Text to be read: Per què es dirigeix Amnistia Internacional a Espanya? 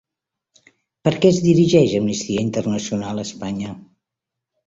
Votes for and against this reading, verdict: 2, 0, accepted